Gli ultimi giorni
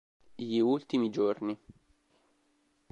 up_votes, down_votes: 2, 0